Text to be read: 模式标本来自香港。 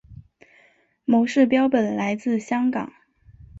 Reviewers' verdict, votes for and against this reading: accepted, 3, 0